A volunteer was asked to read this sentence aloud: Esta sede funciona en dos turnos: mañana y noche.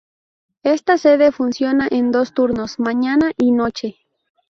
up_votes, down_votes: 2, 0